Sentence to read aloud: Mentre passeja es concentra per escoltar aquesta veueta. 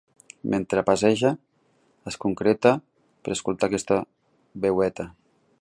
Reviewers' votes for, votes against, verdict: 0, 2, rejected